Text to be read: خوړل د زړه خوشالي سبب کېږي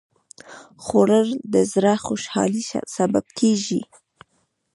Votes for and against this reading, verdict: 0, 2, rejected